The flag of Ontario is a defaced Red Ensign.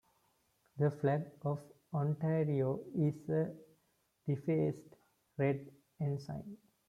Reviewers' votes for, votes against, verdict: 2, 0, accepted